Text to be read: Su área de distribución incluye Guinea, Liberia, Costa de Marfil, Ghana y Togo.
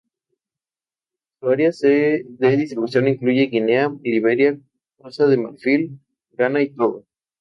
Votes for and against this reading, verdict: 2, 0, accepted